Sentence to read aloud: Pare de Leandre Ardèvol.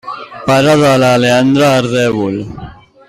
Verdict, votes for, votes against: rejected, 2, 3